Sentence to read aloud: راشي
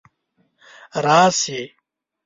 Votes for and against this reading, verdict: 1, 3, rejected